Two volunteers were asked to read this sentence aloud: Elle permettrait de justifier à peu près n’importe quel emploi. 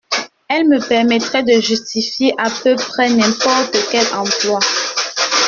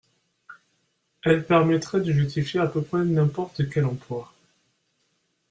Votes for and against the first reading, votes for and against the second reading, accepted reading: 0, 2, 2, 0, second